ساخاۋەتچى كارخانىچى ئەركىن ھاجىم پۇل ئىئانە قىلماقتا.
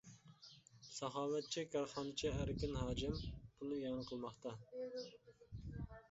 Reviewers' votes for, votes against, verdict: 2, 0, accepted